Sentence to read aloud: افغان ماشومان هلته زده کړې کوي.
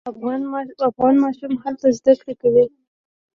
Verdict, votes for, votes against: rejected, 0, 2